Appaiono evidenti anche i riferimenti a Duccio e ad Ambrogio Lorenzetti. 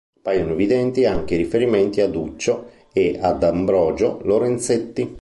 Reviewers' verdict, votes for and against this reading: rejected, 1, 2